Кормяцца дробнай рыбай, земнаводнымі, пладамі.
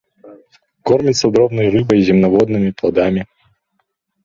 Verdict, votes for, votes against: rejected, 1, 2